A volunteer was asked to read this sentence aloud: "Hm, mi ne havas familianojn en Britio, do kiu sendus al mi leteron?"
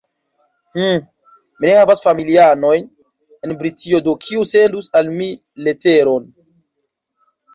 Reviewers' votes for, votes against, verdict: 1, 2, rejected